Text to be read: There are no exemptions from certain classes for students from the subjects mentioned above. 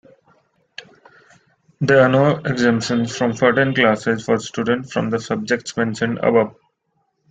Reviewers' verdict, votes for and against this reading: accepted, 2, 1